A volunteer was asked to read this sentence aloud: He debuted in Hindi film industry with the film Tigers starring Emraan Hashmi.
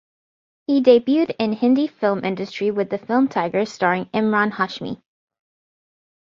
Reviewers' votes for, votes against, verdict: 2, 0, accepted